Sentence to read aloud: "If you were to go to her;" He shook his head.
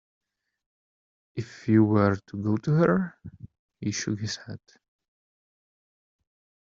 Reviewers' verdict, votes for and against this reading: accepted, 2, 1